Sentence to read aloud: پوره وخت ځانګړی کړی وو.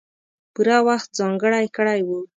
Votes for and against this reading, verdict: 2, 0, accepted